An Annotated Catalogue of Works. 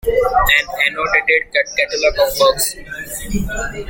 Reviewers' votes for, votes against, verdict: 2, 1, accepted